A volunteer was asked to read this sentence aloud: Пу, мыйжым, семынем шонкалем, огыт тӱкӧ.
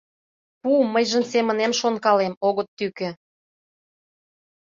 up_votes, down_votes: 2, 0